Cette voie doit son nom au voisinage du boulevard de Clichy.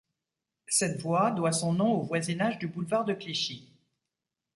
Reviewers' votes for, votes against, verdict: 2, 0, accepted